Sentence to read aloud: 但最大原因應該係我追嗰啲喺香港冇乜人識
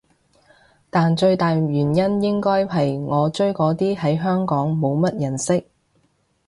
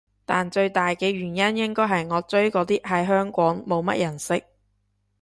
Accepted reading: first